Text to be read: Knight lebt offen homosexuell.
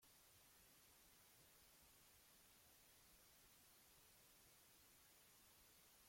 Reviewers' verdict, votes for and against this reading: rejected, 0, 2